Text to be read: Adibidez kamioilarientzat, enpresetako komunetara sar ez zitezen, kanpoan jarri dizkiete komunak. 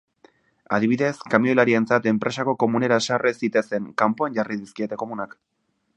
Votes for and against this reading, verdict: 0, 2, rejected